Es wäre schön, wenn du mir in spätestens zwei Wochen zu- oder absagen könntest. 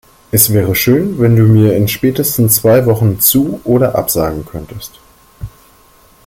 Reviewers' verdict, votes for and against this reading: accepted, 2, 0